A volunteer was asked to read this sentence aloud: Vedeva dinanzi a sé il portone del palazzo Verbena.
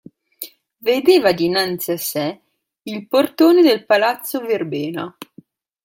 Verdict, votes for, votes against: accepted, 2, 0